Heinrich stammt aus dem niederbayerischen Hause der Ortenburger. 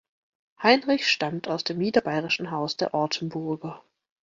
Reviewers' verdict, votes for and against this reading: rejected, 1, 2